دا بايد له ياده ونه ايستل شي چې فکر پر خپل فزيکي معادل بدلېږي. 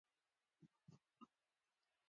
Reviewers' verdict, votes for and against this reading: accepted, 2, 0